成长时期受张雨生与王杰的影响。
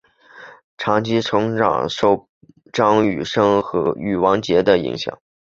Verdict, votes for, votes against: rejected, 2, 3